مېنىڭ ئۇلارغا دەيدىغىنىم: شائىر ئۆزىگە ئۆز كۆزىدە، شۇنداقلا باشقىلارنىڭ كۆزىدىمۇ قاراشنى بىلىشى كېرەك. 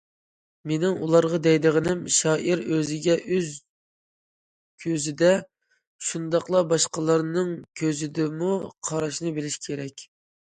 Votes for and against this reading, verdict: 2, 0, accepted